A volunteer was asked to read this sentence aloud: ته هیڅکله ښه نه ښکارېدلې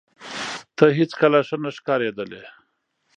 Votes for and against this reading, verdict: 2, 0, accepted